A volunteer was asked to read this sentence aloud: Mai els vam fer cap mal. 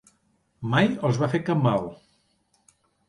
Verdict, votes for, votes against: rejected, 1, 2